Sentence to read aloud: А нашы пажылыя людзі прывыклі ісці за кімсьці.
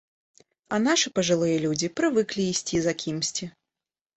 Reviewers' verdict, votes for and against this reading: accepted, 2, 0